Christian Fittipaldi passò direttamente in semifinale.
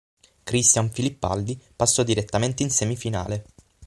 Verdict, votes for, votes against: rejected, 3, 6